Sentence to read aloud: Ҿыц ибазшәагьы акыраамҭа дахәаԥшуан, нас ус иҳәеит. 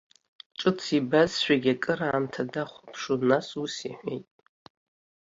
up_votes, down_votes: 0, 2